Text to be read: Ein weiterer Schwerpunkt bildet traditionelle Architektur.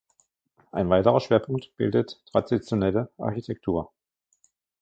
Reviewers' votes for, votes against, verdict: 1, 2, rejected